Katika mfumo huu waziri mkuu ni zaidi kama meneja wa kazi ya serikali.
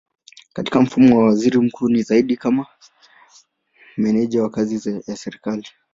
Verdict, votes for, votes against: rejected, 0, 2